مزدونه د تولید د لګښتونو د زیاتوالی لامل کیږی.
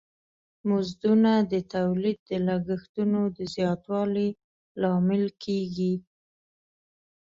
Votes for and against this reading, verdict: 2, 0, accepted